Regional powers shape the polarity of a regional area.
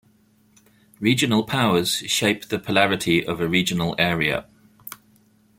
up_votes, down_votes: 2, 0